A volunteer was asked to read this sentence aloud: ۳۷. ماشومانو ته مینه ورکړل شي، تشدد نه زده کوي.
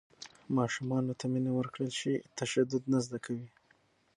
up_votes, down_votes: 0, 2